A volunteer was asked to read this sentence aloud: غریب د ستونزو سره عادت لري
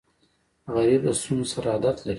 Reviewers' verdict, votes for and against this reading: accepted, 2, 1